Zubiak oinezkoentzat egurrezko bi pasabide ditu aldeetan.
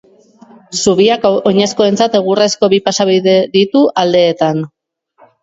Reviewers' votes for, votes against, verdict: 2, 0, accepted